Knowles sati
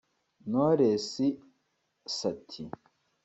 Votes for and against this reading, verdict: 2, 0, accepted